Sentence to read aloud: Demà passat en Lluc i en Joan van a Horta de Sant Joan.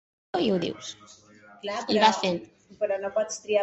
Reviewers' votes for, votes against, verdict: 1, 2, rejected